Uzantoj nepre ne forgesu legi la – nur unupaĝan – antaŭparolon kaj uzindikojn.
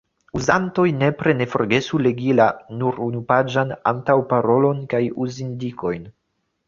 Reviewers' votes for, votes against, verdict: 0, 2, rejected